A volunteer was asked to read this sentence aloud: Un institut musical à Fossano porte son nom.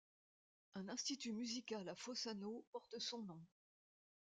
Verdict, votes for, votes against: accepted, 2, 1